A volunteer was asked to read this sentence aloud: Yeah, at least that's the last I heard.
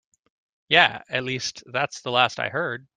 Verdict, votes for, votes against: accepted, 2, 0